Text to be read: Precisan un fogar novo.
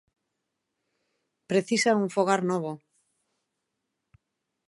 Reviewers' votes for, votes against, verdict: 2, 0, accepted